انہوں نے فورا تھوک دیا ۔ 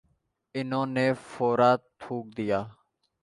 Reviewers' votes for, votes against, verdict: 1, 2, rejected